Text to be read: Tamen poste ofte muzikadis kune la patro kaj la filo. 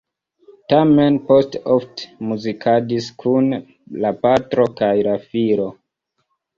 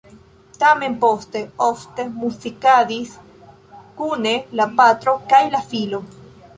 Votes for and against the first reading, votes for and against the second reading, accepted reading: 1, 2, 2, 1, second